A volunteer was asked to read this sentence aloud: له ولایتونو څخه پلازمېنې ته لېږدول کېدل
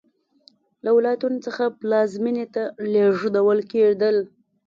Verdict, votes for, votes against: accepted, 2, 0